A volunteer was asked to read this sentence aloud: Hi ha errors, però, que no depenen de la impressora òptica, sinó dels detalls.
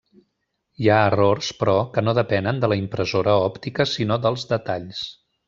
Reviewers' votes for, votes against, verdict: 3, 1, accepted